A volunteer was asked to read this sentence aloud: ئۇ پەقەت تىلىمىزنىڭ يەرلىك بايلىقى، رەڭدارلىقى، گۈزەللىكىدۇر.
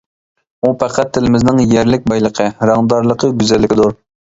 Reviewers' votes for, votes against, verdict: 2, 0, accepted